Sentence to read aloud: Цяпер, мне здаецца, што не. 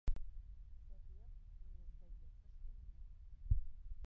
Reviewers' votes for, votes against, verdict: 1, 2, rejected